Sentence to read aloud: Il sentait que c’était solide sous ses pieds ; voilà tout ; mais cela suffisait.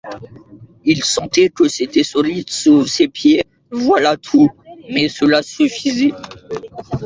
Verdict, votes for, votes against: rejected, 1, 2